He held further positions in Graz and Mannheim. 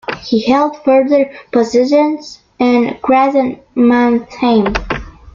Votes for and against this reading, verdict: 2, 0, accepted